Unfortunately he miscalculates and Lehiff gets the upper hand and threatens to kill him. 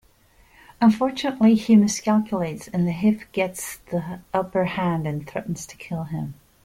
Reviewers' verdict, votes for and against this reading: accepted, 2, 0